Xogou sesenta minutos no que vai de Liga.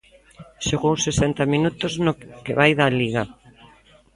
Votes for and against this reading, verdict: 0, 2, rejected